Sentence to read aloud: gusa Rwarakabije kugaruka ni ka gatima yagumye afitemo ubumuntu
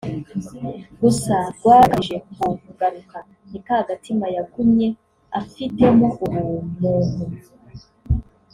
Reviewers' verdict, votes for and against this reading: rejected, 1, 2